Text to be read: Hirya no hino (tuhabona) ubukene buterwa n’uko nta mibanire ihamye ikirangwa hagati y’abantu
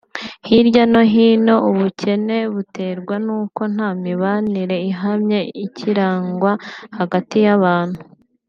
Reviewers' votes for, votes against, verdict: 1, 2, rejected